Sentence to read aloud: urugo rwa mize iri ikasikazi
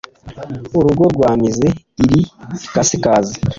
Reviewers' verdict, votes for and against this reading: accepted, 2, 0